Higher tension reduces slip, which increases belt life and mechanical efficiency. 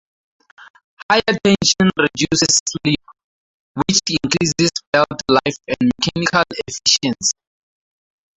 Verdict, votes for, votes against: rejected, 0, 2